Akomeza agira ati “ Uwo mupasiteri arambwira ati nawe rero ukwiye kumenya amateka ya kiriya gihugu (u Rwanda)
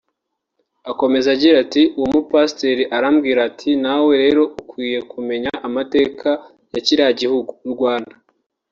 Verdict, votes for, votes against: accepted, 2, 0